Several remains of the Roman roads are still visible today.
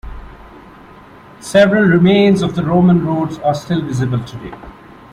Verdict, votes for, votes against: accepted, 2, 1